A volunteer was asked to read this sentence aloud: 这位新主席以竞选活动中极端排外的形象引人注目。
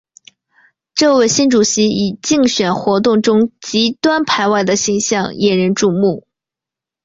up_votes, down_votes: 2, 1